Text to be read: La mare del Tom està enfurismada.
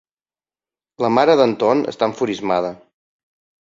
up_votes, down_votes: 2, 5